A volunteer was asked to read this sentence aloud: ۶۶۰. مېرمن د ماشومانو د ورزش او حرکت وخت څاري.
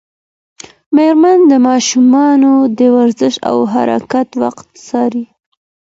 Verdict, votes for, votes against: rejected, 0, 2